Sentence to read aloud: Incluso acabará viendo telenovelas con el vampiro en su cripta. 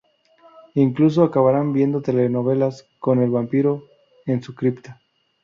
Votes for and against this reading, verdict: 0, 2, rejected